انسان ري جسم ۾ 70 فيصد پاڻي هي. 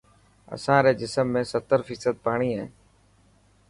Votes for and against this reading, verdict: 0, 2, rejected